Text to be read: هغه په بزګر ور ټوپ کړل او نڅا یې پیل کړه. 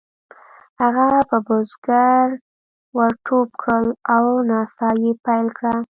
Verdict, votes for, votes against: rejected, 1, 2